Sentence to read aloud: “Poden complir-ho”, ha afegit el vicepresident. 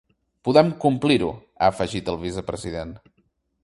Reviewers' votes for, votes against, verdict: 1, 2, rejected